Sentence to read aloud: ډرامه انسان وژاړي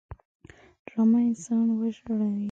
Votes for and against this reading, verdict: 0, 2, rejected